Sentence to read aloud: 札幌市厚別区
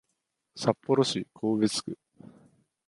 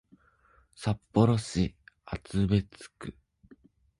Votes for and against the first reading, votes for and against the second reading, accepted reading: 1, 2, 2, 0, second